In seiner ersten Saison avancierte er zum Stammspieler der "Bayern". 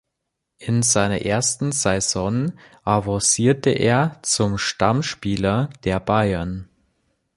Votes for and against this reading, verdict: 1, 2, rejected